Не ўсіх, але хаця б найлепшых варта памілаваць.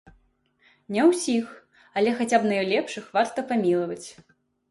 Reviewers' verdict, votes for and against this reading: accepted, 2, 0